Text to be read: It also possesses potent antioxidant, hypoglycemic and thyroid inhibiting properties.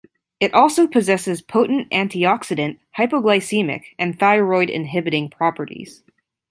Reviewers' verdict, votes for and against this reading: accepted, 2, 0